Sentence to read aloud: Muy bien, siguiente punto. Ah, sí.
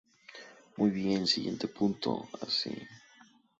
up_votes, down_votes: 0, 2